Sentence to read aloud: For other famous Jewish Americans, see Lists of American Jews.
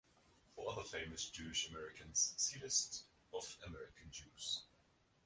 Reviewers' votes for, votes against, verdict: 0, 2, rejected